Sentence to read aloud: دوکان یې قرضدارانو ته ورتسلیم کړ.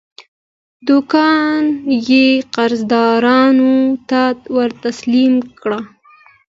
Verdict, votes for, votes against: accepted, 2, 0